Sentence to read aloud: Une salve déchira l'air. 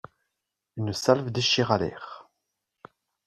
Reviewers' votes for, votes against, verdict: 2, 0, accepted